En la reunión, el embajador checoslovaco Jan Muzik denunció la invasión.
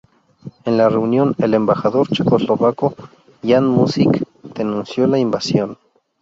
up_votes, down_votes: 2, 0